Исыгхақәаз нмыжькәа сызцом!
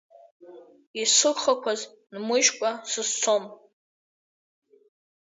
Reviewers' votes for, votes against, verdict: 1, 2, rejected